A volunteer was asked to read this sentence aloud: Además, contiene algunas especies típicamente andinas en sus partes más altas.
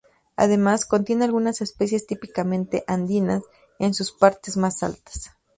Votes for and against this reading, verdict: 2, 2, rejected